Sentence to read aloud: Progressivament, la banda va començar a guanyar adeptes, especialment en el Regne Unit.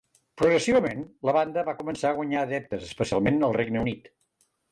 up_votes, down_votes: 2, 0